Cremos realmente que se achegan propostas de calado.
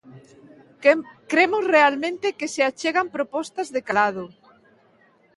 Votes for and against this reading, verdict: 2, 1, accepted